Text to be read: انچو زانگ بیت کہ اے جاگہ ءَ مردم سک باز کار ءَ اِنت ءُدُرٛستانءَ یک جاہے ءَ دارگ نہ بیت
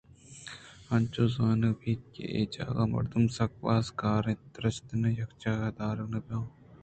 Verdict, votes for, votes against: accepted, 2, 0